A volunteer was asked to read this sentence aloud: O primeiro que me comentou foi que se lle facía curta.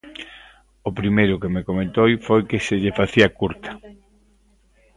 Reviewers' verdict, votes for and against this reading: rejected, 1, 2